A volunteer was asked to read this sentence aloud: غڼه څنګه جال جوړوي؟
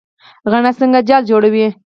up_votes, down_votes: 2, 4